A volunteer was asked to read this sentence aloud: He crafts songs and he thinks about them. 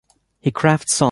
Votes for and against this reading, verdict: 1, 2, rejected